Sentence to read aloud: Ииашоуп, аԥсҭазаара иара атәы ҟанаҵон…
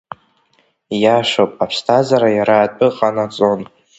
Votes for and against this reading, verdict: 2, 1, accepted